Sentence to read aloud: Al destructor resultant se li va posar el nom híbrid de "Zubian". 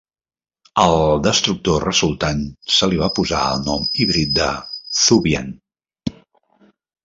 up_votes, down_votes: 0, 2